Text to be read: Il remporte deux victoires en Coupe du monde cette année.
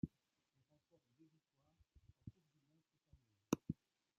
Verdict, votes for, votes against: rejected, 0, 2